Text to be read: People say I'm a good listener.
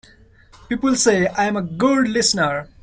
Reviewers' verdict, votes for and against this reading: accepted, 2, 1